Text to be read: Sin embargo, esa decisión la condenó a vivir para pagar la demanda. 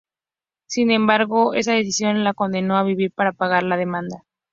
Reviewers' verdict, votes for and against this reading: accepted, 2, 0